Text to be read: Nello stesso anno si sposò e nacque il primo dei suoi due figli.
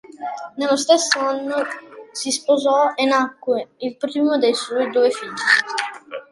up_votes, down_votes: 2, 1